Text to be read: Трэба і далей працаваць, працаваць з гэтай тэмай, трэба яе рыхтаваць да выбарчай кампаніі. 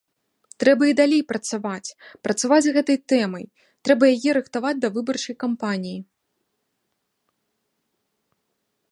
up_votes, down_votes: 2, 0